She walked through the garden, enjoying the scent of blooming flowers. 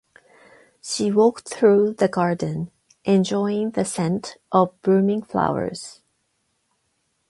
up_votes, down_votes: 4, 8